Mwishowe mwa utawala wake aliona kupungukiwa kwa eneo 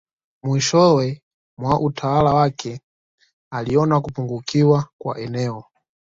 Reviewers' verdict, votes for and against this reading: accepted, 2, 0